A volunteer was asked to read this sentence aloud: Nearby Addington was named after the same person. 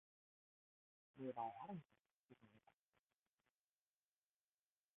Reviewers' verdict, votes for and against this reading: rejected, 0, 2